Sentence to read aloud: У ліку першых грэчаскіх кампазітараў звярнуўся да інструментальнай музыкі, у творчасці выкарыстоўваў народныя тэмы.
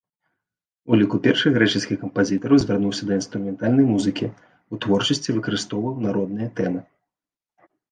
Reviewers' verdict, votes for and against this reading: accepted, 2, 0